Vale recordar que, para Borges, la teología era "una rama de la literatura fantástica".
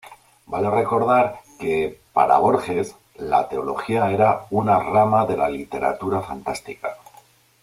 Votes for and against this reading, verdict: 2, 0, accepted